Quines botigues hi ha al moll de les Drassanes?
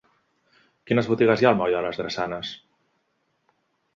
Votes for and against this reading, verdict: 3, 0, accepted